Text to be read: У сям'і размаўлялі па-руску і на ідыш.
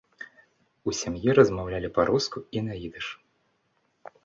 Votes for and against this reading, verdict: 2, 0, accepted